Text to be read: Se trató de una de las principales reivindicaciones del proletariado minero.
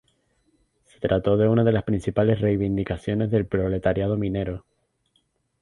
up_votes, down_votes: 0, 2